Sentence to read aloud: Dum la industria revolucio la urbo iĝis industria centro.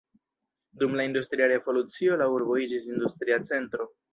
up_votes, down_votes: 1, 2